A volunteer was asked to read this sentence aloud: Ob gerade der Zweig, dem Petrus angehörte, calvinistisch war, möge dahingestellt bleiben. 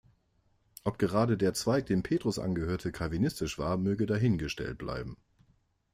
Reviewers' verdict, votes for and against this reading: accepted, 2, 0